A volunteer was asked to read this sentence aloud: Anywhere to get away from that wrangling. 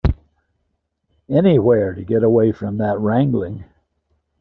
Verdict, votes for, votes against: accepted, 2, 0